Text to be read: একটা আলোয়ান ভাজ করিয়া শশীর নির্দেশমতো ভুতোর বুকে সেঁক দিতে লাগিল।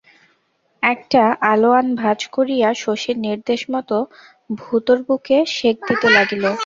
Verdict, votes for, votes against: rejected, 0, 2